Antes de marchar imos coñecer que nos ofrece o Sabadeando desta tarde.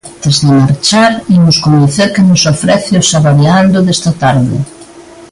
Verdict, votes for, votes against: rejected, 0, 2